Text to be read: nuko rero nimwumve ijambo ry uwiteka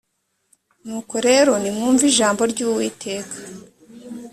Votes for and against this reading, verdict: 2, 0, accepted